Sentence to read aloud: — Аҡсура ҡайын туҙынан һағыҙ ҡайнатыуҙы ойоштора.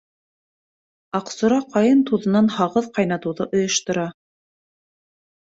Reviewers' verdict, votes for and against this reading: accepted, 2, 0